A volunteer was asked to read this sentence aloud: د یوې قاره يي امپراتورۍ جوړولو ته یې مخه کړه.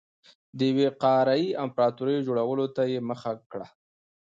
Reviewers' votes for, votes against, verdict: 2, 0, accepted